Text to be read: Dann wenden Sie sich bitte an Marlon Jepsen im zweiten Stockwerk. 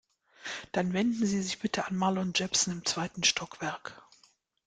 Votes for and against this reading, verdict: 2, 0, accepted